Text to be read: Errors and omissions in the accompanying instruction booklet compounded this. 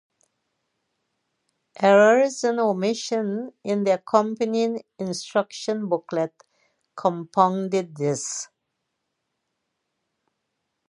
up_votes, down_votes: 2, 0